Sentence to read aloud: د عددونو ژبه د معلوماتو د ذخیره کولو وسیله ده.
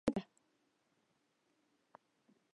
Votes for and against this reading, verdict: 0, 2, rejected